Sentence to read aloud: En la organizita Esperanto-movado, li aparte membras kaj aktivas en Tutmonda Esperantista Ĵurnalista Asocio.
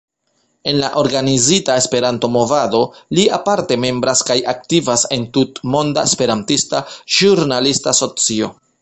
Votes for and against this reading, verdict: 2, 0, accepted